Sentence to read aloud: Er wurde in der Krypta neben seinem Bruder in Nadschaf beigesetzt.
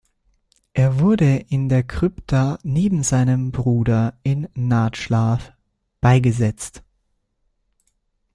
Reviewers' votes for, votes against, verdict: 0, 2, rejected